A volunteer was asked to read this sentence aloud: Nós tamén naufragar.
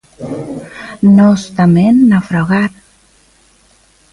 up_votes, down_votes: 2, 0